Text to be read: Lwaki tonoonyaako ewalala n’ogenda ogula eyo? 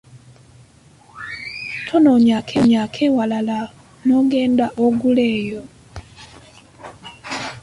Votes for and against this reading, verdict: 0, 2, rejected